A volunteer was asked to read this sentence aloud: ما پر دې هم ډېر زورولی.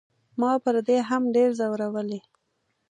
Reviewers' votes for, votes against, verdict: 2, 0, accepted